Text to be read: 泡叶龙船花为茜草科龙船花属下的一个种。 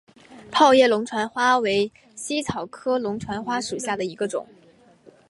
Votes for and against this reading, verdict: 4, 0, accepted